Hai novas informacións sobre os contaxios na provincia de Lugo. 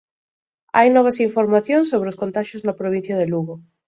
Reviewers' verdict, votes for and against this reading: accepted, 2, 0